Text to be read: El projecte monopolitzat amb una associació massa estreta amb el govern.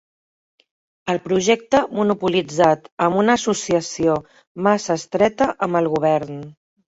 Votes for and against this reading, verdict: 3, 0, accepted